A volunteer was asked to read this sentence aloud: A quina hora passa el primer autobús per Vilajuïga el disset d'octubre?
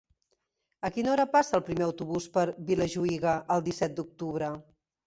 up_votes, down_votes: 1, 2